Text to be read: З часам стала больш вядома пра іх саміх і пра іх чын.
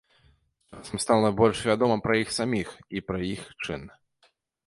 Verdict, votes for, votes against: rejected, 1, 2